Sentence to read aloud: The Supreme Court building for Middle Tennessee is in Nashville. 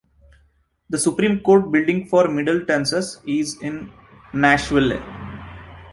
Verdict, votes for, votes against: rejected, 1, 2